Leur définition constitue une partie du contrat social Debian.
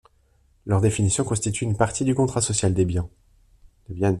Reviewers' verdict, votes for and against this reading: rejected, 1, 2